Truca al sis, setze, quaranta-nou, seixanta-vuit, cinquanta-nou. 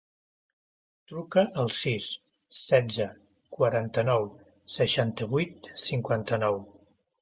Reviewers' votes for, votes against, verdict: 2, 0, accepted